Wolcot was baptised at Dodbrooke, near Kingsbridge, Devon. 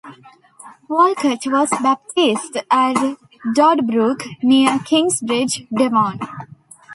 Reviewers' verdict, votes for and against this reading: rejected, 1, 2